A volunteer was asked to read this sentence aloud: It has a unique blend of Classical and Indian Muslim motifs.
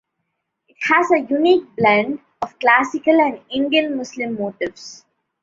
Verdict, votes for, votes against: rejected, 0, 2